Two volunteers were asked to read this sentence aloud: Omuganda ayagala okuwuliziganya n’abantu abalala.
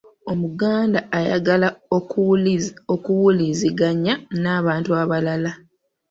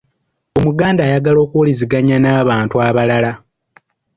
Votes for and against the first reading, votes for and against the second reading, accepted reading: 1, 2, 2, 0, second